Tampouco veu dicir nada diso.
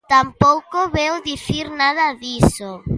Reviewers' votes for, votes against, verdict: 2, 1, accepted